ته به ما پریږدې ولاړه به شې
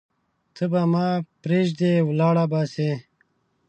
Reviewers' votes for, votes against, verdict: 1, 2, rejected